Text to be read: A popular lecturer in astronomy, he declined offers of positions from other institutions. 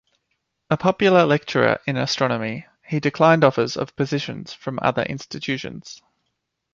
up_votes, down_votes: 2, 0